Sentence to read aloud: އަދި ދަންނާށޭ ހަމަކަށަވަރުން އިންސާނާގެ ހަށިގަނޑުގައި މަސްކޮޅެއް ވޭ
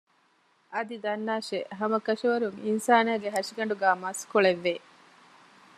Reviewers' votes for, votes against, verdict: 2, 0, accepted